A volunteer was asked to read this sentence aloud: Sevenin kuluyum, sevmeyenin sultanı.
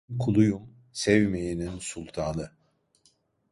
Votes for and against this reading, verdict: 0, 2, rejected